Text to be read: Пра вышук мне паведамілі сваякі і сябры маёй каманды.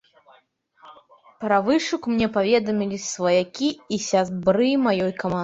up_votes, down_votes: 0, 2